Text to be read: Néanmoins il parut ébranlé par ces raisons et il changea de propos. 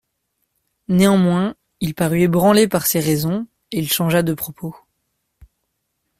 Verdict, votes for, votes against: accepted, 2, 0